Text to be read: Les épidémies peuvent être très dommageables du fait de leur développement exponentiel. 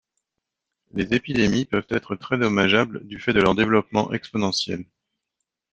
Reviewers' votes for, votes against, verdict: 0, 2, rejected